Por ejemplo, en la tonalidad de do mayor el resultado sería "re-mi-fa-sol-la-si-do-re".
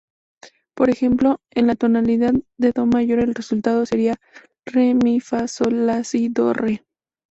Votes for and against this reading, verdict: 2, 0, accepted